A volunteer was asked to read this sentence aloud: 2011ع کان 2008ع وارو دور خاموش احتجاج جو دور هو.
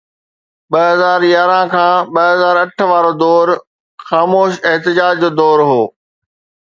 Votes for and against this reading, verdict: 0, 2, rejected